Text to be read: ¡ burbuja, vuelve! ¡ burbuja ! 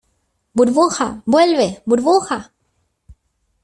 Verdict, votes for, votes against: accepted, 2, 1